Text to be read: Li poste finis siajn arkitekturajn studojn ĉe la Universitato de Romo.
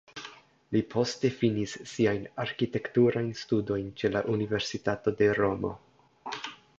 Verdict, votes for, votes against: accepted, 2, 0